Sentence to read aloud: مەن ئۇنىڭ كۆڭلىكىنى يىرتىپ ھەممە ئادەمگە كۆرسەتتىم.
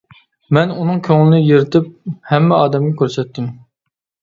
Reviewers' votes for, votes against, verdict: 1, 2, rejected